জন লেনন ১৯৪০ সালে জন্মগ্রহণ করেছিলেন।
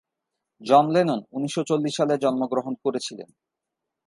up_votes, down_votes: 0, 2